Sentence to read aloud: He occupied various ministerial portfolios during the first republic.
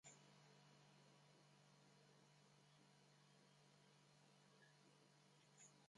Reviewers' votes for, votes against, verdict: 0, 2, rejected